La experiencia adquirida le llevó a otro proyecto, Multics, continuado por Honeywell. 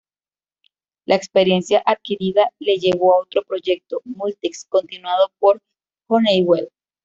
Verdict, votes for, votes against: rejected, 1, 2